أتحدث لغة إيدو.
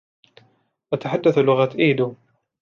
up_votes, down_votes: 2, 0